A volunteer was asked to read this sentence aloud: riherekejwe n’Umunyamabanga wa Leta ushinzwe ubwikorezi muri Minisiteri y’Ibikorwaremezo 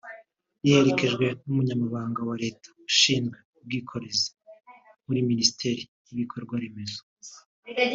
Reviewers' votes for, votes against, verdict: 2, 0, accepted